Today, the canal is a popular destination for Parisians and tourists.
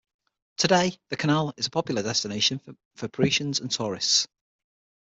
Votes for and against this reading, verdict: 3, 6, rejected